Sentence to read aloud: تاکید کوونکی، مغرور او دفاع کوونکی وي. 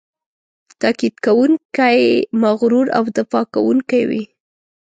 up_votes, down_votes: 2, 0